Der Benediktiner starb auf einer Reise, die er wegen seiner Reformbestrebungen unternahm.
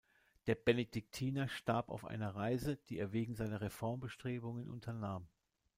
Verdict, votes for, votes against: accepted, 2, 0